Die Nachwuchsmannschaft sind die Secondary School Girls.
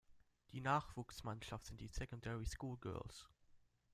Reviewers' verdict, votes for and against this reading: accepted, 2, 1